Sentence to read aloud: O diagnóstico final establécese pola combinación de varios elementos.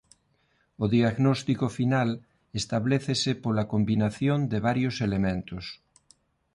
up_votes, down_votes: 2, 0